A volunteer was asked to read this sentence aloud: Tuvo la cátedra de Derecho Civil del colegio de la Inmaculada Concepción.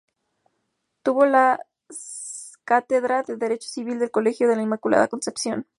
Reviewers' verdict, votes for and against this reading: accepted, 2, 0